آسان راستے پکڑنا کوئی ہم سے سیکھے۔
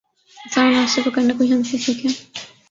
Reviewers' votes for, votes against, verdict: 1, 2, rejected